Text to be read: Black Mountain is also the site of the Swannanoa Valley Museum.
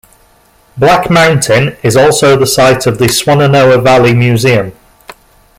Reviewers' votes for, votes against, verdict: 2, 0, accepted